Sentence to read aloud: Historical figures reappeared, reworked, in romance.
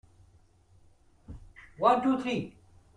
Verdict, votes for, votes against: rejected, 0, 2